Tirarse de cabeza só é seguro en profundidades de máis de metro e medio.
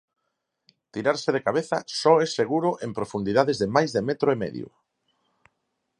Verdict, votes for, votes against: accepted, 4, 0